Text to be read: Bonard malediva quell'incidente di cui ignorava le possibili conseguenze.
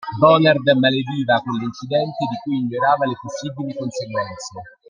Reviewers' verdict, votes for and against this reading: accepted, 2, 1